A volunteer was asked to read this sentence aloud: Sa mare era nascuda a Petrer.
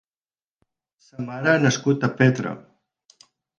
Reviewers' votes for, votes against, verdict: 0, 8, rejected